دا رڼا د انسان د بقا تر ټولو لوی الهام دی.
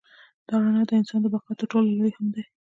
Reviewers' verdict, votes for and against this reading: rejected, 1, 2